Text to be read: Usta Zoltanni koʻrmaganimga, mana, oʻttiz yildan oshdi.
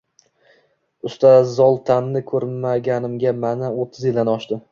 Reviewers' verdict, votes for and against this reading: accepted, 2, 0